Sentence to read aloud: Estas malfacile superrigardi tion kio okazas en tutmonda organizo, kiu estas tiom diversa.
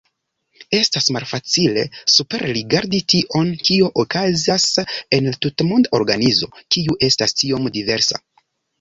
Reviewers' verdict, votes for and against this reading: rejected, 0, 2